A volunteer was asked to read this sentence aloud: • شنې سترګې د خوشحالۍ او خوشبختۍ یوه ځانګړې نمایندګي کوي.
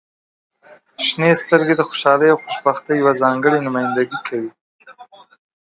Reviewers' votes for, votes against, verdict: 2, 1, accepted